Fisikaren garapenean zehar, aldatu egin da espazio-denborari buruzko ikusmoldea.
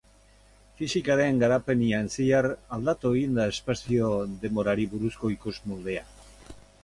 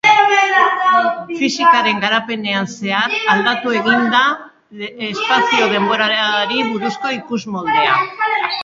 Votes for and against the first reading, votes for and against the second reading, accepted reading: 4, 0, 1, 3, first